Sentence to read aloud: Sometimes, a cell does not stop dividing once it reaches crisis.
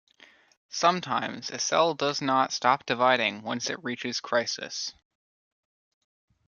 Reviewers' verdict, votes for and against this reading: accepted, 2, 0